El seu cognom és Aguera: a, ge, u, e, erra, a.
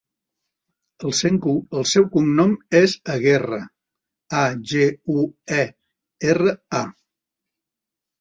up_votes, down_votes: 0, 3